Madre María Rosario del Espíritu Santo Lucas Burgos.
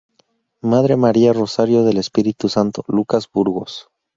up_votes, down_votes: 4, 0